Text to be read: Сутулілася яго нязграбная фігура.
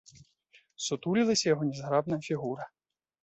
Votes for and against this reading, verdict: 2, 0, accepted